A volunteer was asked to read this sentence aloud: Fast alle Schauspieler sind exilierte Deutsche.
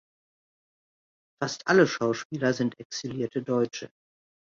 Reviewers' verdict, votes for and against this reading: accepted, 2, 0